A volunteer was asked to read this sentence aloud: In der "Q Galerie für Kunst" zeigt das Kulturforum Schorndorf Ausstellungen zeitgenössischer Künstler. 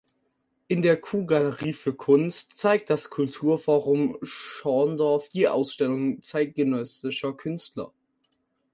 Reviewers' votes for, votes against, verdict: 6, 3, accepted